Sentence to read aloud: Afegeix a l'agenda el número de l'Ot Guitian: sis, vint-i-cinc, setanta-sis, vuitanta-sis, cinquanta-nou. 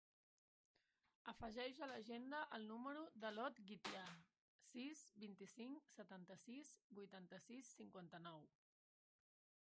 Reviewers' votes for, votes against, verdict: 0, 2, rejected